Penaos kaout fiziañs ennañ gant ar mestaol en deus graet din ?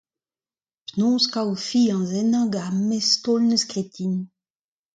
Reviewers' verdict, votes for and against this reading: accepted, 2, 0